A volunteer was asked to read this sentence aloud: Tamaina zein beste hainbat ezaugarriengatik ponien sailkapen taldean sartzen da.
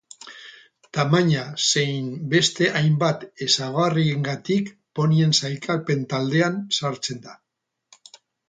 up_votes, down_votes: 2, 0